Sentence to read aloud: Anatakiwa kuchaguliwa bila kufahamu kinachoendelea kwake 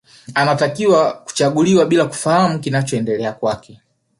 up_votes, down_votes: 1, 2